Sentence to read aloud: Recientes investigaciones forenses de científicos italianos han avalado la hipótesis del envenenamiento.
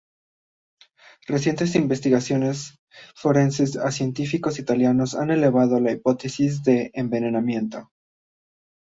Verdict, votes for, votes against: rejected, 0, 2